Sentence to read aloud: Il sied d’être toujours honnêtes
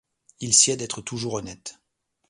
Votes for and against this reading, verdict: 2, 0, accepted